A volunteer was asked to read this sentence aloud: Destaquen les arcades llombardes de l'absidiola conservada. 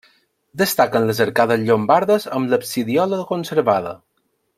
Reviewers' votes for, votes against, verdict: 0, 2, rejected